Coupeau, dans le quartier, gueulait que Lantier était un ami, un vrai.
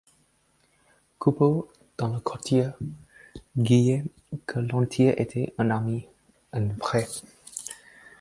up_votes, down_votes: 2, 4